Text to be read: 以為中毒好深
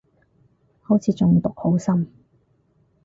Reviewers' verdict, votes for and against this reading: rejected, 2, 4